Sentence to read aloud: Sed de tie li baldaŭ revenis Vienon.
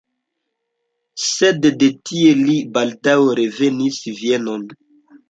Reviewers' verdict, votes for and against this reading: accepted, 2, 0